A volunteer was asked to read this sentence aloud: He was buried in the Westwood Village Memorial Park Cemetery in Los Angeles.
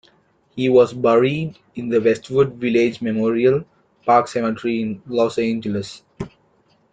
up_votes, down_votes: 2, 0